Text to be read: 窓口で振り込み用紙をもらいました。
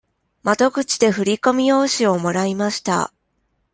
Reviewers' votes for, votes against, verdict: 2, 0, accepted